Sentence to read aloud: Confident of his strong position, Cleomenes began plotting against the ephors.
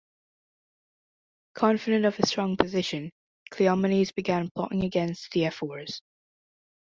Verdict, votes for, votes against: accepted, 2, 0